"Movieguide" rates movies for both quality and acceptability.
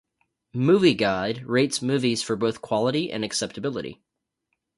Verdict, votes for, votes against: rejected, 2, 2